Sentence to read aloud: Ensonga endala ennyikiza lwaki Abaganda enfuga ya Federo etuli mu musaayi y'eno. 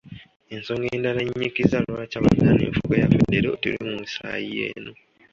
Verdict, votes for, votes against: rejected, 1, 2